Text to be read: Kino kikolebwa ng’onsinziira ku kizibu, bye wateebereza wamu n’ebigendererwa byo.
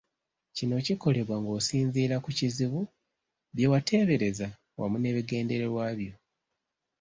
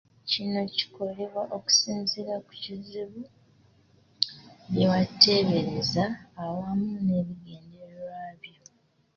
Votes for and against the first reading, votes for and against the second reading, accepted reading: 2, 0, 0, 2, first